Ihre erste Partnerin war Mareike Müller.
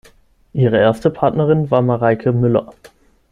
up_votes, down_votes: 6, 0